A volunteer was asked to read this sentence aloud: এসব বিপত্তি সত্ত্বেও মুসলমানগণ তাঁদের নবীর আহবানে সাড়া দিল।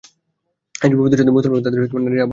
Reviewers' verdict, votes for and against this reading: rejected, 0, 2